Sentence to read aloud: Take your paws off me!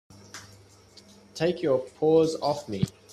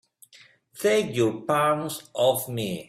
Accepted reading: first